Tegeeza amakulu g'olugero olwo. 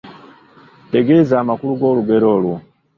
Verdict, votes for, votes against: rejected, 1, 2